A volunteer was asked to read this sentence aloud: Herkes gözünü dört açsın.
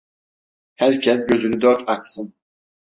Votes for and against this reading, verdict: 2, 0, accepted